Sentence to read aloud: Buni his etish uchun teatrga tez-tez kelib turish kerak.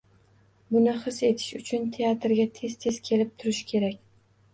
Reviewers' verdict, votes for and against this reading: rejected, 1, 2